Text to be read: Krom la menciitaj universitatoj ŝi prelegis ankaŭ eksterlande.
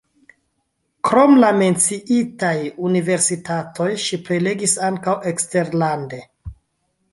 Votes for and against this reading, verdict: 1, 2, rejected